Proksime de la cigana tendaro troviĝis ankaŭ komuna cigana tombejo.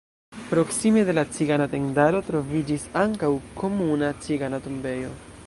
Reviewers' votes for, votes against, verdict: 2, 0, accepted